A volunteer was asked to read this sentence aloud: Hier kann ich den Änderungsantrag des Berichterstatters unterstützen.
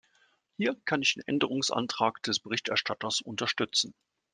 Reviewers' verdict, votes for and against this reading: accepted, 2, 0